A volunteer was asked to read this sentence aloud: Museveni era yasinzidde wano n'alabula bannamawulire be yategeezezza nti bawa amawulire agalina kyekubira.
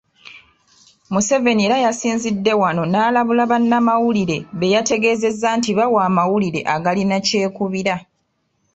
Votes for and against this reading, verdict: 2, 0, accepted